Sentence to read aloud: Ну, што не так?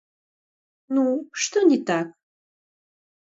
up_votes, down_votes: 0, 2